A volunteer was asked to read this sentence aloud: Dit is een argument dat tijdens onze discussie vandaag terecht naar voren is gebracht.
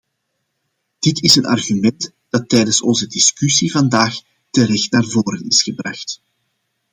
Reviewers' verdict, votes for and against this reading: accepted, 2, 0